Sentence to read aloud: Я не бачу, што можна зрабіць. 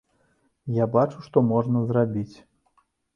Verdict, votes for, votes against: rejected, 0, 2